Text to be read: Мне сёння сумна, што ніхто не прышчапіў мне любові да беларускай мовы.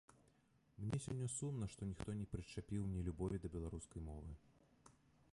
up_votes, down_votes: 1, 2